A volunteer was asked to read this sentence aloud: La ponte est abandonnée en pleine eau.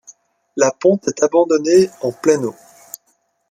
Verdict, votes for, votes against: accepted, 2, 0